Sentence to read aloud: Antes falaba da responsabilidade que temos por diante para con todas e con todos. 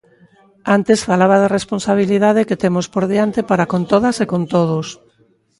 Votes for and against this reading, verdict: 3, 0, accepted